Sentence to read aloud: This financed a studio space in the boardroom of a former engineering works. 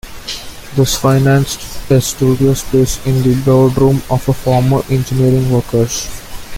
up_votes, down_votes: 0, 2